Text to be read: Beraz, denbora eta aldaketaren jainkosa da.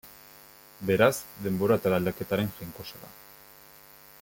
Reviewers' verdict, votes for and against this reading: rejected, 0, 2